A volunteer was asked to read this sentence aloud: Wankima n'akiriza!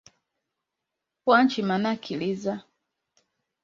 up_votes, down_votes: 2, 3